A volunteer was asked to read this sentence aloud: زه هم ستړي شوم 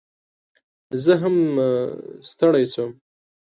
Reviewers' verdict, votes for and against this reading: accepted, 2, 0